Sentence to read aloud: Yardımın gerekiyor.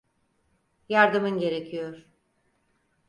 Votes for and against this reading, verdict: 4, 0, accepted